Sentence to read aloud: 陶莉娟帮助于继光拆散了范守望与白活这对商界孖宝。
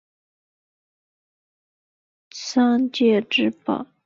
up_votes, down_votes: 5, 2